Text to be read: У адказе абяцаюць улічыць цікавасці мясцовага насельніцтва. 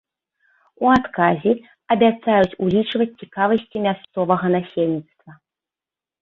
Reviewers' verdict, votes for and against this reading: rejected, 1, 2